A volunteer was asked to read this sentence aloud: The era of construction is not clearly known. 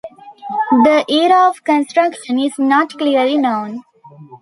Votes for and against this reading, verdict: 2, 0, accepted